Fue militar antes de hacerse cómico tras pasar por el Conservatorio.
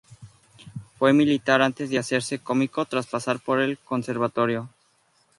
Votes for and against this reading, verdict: 4, 0, accepted